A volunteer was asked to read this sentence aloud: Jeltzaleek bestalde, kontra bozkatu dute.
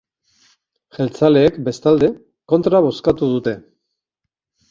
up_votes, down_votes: 2, 2